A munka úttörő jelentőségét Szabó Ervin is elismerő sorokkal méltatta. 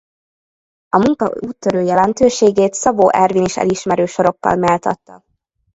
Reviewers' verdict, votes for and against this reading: rejected, 0, 2